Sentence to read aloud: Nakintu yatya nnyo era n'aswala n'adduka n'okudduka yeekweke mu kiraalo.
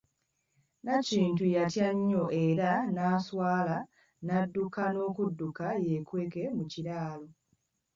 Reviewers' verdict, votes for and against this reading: accepted, 2, 0